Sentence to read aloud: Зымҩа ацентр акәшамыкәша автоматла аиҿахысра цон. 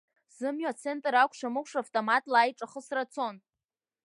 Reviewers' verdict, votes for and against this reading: rejected, 0, 2